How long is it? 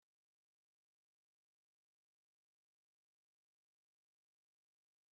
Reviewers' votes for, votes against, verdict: 0, 2, rejected